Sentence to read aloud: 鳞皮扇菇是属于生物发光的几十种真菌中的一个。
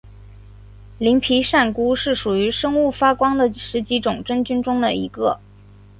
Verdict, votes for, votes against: rejected, 1, 2